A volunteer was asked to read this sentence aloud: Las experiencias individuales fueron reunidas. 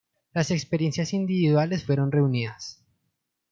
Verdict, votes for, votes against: accepted, 2, 0